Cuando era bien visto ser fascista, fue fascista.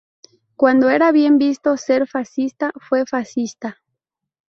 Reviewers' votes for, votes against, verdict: 2, 2, rejected